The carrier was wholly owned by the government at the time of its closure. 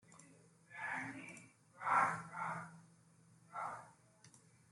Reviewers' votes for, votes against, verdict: 0, 2, rejected